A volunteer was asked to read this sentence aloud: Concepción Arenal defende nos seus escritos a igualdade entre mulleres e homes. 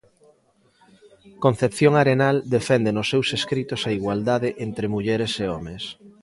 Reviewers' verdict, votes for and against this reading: rejected, 1, 2